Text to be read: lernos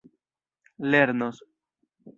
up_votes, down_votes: 1, 2